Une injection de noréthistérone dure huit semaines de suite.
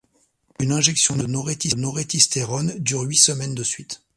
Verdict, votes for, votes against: rejected, 1, 2